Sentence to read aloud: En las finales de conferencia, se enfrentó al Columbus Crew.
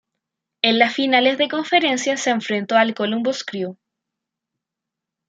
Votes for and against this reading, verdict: 2, 0, accepted